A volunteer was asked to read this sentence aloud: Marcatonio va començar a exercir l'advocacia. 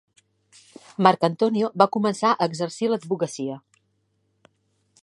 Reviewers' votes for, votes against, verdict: 0, 2, rejected